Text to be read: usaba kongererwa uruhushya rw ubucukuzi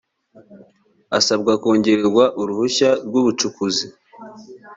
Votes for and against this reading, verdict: 1, 2, rejected